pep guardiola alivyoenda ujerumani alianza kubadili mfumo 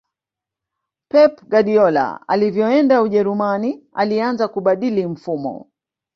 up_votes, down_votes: 1, 2